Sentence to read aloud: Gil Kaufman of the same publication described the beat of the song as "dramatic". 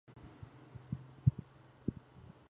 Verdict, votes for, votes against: rejected, 0, 2